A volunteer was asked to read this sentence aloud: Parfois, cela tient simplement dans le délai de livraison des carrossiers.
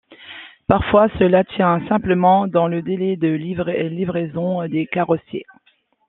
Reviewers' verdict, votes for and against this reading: rejected, 1, 2